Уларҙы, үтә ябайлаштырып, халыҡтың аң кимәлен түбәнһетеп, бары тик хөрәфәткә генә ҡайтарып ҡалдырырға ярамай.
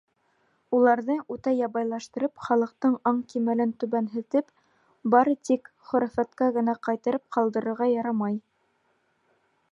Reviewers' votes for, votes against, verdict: 1, 2, rejected